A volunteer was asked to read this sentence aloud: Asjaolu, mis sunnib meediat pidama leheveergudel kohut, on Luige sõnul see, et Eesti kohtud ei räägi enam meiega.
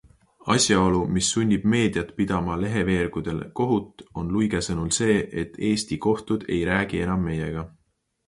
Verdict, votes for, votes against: accepted, 2, 0